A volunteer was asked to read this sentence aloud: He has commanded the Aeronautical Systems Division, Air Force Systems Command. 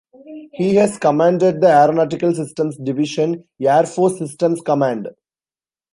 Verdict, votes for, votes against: rejected, 1, 2